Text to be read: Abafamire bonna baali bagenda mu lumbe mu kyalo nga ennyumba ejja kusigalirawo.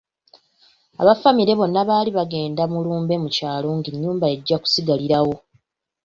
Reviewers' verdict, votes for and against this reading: rejected, 0, 2